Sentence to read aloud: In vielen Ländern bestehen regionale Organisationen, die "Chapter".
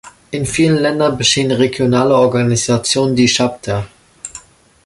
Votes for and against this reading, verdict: 0, 2, rejected